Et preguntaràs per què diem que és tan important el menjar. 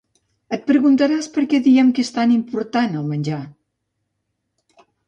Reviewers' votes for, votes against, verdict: 2, 0, accepted